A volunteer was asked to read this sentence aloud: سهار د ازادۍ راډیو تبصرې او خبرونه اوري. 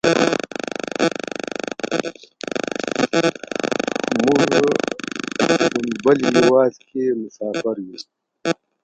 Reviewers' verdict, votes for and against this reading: rejected, 0, 2